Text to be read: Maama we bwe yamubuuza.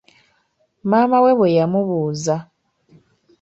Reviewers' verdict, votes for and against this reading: accepted, 2, 0